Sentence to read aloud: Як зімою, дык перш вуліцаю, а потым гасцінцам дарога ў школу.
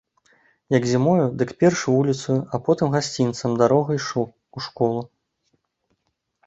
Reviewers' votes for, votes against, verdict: 0, 2, rejected